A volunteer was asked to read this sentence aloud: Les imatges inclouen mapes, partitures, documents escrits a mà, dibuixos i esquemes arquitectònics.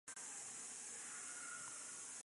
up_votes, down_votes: 0, 2